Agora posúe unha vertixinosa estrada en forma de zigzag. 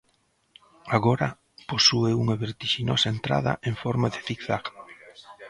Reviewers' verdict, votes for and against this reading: rejected, 0, 2